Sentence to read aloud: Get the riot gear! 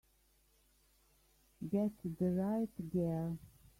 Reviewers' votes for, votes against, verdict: 0, 2, rejected